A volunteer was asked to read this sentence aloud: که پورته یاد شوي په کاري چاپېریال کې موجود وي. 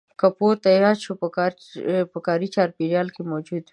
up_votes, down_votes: 1, 2